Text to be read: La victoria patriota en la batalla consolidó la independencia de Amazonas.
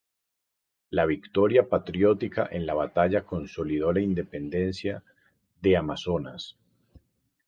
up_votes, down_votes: 0, 2